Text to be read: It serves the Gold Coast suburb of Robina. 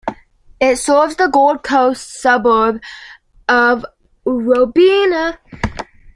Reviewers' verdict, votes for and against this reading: accepted, 2, 1